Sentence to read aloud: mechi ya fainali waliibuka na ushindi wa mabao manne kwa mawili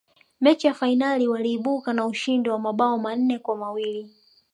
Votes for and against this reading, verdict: 1, 2, rejected